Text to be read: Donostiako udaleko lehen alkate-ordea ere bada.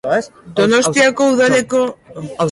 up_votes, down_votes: 0, 2